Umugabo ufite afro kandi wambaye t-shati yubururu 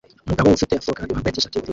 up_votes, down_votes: 0, 2